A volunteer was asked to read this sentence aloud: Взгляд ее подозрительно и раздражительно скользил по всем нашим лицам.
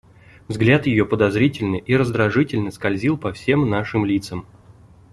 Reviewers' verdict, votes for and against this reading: accepted, 2, 0